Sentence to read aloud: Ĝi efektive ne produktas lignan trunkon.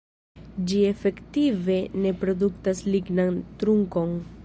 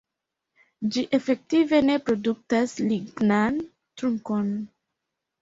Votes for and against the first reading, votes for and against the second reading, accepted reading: 1, 2, 2, 1, second